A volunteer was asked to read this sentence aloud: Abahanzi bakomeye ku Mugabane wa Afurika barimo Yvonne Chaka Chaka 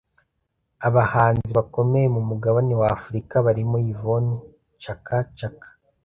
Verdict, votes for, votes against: rejected, 1, 2